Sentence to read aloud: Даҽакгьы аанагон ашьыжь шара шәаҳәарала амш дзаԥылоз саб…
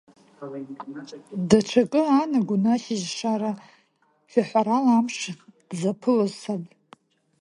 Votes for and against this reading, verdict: 0, 2, rejected